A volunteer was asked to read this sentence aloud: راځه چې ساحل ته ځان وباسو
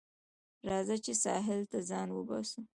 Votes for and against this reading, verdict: 1, 2, rejected